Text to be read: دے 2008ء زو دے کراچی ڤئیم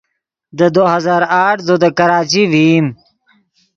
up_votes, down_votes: 0, 2